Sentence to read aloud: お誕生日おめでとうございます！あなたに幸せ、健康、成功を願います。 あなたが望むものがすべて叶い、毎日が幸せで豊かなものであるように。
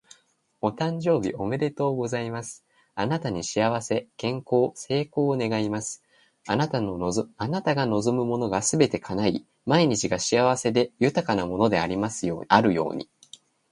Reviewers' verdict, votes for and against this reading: rejected, 2, 2